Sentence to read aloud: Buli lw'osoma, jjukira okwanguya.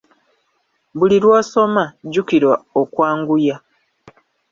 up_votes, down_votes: 1, 2